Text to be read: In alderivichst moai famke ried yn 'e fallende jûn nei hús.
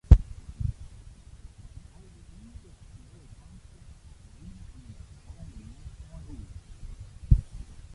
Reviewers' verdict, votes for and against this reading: rejected, 0, 2